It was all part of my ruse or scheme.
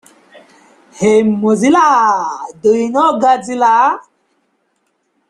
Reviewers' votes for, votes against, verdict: 0, 2, rejected